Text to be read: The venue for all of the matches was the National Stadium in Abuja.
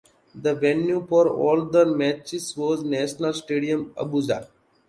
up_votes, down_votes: 0, 2